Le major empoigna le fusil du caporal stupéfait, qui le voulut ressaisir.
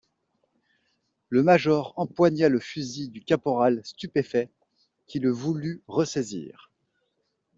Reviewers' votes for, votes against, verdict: 2, 0, accepted